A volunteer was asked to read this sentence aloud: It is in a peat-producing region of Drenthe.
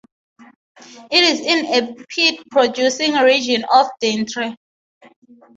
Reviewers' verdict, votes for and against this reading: accepted, 3, 0